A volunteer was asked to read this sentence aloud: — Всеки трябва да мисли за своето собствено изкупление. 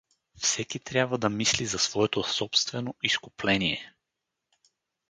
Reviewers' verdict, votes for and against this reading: accepted, 4, 0